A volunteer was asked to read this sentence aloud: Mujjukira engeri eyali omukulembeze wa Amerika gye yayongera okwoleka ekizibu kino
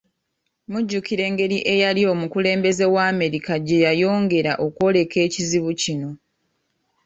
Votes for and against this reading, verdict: 2, 0, accepted